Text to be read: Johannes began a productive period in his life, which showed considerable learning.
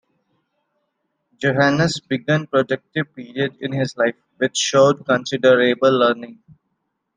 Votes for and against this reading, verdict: 0, 2, rejected